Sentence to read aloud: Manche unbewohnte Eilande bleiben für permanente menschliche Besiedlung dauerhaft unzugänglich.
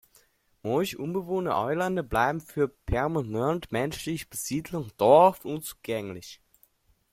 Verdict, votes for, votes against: rejected, 0, 2